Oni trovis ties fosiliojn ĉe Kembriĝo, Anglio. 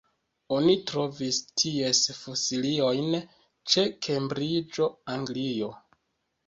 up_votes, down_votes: 3, 4